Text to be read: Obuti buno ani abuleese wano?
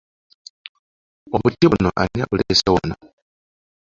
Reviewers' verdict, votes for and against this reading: rejected, 0, 2